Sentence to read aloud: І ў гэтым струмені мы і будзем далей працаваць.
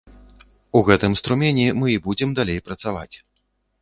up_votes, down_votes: 1, 2